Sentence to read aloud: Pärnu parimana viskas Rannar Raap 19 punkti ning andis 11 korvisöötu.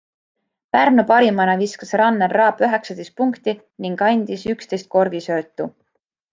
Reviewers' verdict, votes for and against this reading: rejected, 0, 2